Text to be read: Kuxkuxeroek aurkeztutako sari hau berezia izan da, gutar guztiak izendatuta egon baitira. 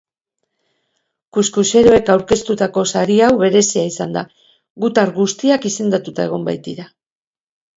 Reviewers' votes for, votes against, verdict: 2, 0, accepted